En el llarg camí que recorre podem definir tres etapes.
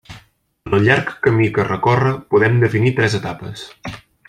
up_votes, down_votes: 0, 2